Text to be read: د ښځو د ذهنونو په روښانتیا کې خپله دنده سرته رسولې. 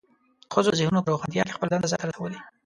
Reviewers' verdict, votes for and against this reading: rejected, 0, 2